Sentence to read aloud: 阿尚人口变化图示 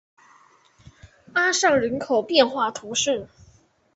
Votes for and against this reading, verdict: 2, 0, accepted